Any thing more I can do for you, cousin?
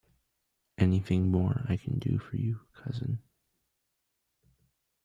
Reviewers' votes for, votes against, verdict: 1, 2, rejected